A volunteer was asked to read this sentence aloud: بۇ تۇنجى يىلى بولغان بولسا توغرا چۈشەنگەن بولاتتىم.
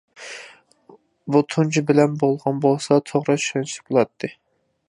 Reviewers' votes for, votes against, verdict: 0, 2, rejected